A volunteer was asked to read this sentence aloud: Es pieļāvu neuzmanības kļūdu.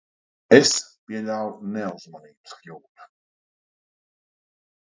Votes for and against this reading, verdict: 1, 2, rejected